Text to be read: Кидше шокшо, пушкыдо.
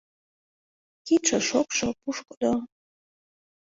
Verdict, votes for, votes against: accepted, 2, 0